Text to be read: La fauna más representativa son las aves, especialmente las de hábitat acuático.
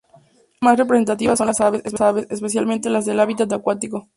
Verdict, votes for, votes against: rejected, 0, 2